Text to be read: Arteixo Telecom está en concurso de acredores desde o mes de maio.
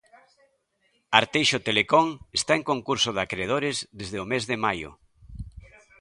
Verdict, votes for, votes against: rejected, 1, 2